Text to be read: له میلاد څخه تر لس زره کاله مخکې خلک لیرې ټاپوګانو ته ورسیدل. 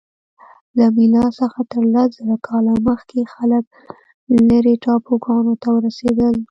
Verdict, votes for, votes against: accepted, 2, 0